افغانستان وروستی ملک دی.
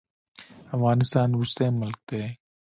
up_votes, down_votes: 1, 2